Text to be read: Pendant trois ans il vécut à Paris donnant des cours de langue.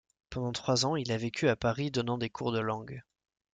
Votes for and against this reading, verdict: 1, 2, rejected